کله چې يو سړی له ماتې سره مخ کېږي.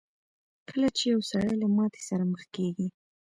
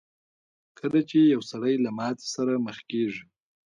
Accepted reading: first